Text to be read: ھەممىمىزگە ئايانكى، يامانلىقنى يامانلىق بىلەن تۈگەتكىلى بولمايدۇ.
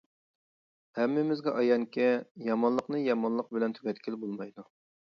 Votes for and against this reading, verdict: 2, 0, accepted